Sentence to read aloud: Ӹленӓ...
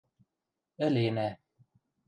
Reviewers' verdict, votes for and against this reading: accepted, 2, 0